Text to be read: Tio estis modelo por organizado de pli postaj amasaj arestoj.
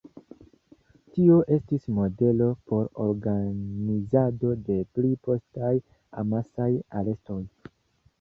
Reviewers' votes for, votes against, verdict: 1, 2, rejected